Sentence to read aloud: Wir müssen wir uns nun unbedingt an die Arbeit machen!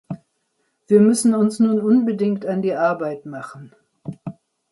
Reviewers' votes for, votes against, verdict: 0, 2, rejected